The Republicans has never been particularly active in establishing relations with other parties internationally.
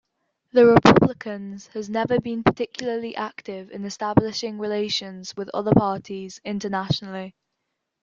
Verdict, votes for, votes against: rejected, 1, 2